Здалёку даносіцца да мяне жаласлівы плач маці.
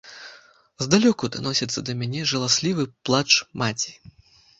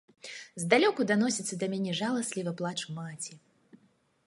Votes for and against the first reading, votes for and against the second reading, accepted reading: 0, 2, 2, 0, second